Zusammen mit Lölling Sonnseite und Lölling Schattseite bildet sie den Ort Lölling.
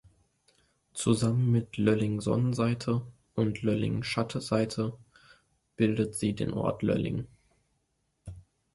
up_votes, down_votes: 1, 2